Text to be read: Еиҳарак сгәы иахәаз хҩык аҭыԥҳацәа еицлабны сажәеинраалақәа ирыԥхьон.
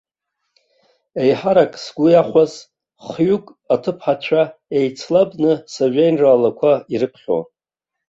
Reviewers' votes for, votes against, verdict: 2, 0, accepted